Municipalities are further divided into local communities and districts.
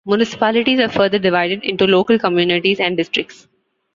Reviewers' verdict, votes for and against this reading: accepted, 2, 0